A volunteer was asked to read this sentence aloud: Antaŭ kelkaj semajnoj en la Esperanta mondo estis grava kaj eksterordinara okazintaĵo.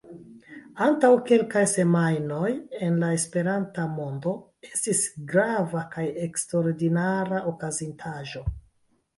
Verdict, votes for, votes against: accepted, 2, 1